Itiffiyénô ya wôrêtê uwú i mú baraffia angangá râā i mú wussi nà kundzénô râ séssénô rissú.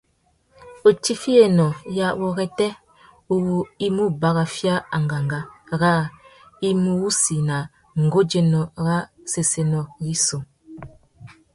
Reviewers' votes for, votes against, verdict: 3, 0, accepted